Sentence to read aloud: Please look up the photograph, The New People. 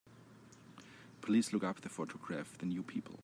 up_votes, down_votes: 2, 0